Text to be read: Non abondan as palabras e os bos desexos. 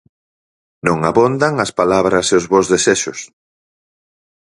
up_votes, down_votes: 4, 0